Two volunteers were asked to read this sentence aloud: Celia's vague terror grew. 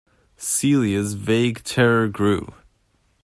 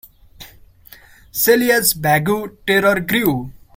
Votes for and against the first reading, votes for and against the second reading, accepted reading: 2, 0, 1, 2, first